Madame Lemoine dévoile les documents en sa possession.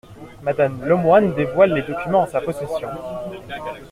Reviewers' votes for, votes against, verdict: 2, 0, accepted